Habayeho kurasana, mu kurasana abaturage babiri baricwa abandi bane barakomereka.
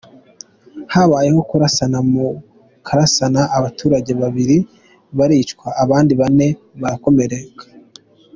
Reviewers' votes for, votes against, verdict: 2, 0, accepted